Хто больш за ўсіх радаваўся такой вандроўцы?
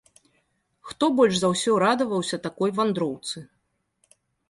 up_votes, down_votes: 2, 1